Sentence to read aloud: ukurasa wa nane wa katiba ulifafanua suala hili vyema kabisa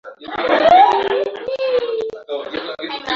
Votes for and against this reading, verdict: 0, 2, rejected